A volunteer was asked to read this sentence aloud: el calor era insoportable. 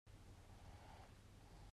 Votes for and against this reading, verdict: 0, 2, rejected